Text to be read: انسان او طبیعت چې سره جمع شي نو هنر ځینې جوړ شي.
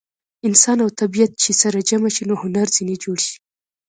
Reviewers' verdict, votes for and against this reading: accepted, 2, 0